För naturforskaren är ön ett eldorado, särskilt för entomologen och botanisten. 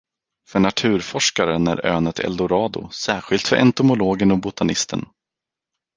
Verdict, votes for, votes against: accepted, 4, 0